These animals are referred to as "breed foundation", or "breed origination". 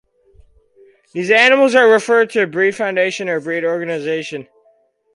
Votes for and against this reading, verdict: 0, 4, rejected